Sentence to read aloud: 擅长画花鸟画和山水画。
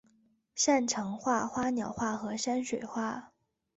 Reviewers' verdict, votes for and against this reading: accepted, 3, 0